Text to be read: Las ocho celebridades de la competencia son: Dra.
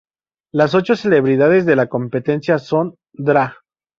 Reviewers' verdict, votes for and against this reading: rejected, 0, 2